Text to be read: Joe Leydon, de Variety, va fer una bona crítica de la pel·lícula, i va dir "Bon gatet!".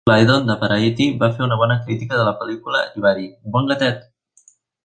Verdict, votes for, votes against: rejected, 1, 2